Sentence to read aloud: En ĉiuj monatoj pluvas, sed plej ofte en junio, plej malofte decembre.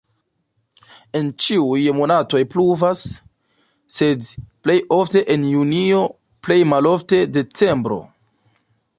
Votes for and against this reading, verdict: 0, 2, rejected